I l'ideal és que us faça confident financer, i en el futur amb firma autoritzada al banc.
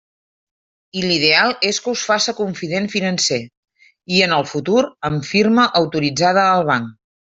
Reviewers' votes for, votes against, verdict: 3, 0, accepted